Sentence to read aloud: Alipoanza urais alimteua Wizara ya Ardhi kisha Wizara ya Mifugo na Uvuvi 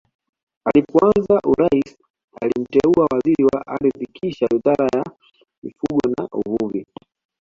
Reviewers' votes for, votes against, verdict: 1, 2, rejected